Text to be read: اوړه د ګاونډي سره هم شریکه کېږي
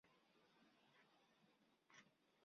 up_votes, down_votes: 1, 2